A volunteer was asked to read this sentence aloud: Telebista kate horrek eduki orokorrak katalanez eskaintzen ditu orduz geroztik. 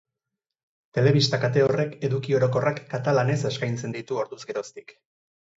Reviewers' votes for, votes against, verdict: 8, 0, accepted